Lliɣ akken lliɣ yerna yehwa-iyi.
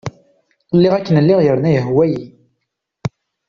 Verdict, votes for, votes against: accepted, 2, 0